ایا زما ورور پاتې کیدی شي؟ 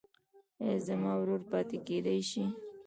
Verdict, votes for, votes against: rejected, 0, 2